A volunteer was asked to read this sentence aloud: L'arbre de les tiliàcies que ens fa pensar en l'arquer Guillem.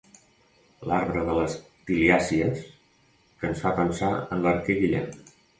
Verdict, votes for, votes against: accepted, 3, 0